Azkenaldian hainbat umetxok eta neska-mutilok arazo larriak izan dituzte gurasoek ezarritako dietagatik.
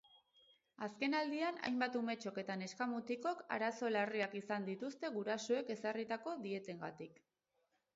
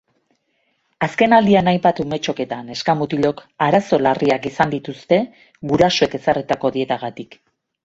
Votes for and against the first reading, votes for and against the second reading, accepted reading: 0, 6, 2, 0, second